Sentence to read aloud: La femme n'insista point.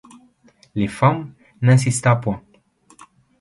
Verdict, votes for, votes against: rejected, 1, 2